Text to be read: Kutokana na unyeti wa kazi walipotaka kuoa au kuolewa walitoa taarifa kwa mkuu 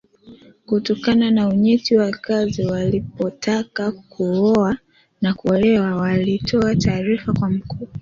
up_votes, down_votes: 1, 2